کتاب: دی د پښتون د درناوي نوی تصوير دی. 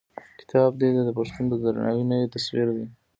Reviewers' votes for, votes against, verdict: 1, 2, rejected